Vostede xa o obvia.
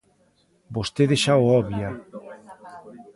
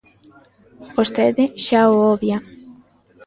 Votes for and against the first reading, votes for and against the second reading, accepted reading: 1, 2, 2, 0, second